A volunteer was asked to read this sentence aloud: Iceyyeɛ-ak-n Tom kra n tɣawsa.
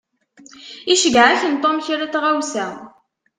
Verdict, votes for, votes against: accepted, 2, 0